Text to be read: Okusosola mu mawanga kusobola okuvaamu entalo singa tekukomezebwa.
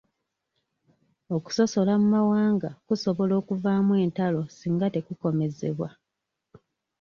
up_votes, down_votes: 2, 0